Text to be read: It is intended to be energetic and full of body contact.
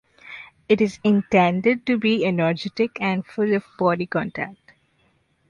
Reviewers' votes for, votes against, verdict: 2, 0, accepted